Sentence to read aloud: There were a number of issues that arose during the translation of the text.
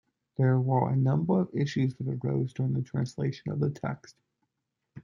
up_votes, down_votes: 2, 0